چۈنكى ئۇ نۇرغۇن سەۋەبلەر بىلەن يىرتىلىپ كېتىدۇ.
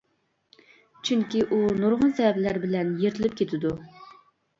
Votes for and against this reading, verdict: 2, 0, accepted